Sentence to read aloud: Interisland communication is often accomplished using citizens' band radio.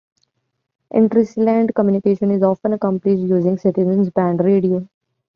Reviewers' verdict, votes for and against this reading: rejected, 1, 2